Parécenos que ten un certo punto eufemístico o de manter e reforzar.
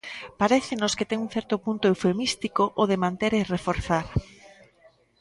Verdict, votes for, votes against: rejected, 1, 2